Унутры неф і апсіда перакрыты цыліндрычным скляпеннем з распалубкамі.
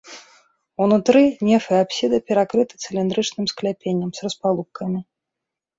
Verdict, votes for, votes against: accepted, 2, 0